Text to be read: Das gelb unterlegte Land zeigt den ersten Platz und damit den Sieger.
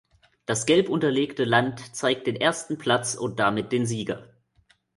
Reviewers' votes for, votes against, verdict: 2, 0, accepted